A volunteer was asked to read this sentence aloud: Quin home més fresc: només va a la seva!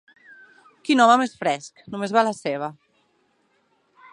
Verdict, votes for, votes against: accepted, 6, 0